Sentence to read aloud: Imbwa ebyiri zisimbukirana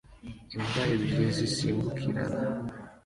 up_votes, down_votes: 2, 0